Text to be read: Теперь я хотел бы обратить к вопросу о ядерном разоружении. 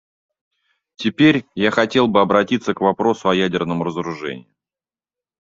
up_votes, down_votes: 2, 1